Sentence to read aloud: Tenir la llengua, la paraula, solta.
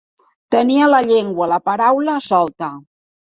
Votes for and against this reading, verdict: 2, 3, rejected